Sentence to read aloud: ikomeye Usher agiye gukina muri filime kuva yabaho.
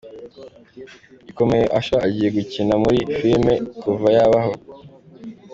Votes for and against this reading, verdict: 2, 1, accepted